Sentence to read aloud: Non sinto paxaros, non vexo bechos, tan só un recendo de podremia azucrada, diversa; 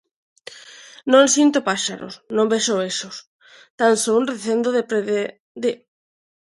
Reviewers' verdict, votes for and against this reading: rejected, 0, 2